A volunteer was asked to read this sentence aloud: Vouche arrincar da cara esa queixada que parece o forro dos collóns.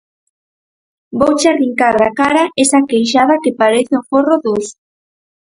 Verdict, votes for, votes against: rejected, 0, 4